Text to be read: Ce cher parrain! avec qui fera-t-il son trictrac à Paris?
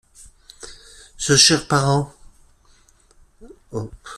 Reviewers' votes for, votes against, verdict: 0, 2, rejected